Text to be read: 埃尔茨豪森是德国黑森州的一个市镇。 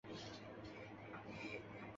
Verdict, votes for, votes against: rejected, 0, 3